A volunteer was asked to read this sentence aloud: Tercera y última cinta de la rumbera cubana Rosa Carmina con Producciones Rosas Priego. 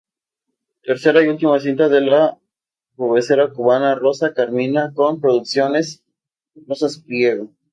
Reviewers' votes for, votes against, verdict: 0, 4, rejected